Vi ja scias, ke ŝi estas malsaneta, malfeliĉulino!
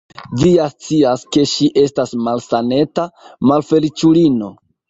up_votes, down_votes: 2, 1